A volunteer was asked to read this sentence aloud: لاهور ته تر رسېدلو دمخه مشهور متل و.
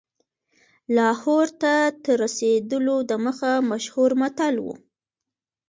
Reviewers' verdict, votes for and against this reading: accepted, 2, 0